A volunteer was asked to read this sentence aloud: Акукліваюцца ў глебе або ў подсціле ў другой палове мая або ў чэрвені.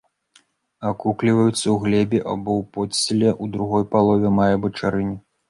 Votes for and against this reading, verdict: 0, 2, rejected